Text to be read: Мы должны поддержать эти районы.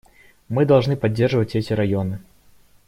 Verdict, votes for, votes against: rejected, 1, 2